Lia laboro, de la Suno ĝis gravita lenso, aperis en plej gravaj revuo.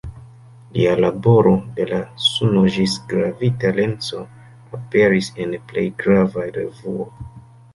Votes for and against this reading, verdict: 1, 2, rejected